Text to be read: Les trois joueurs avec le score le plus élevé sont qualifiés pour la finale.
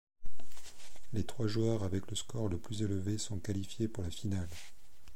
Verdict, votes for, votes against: accepted, 2, 0